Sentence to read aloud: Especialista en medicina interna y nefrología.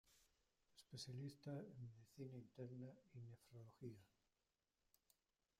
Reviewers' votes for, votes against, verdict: 0, 2, rejected